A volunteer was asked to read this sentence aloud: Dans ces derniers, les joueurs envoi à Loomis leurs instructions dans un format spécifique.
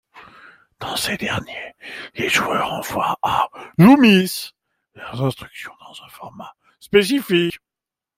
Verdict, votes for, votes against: rejected, 0, 2